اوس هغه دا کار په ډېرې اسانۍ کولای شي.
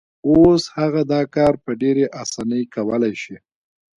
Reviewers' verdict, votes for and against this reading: rejected, 0, 2